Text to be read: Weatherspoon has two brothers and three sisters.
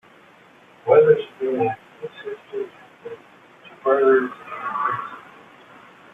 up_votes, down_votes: 0, 2